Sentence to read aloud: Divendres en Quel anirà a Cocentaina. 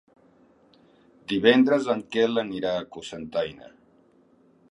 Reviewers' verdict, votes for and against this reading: accepted, 4, 0